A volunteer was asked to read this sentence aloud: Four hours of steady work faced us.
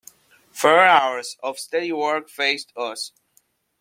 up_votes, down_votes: 2, 0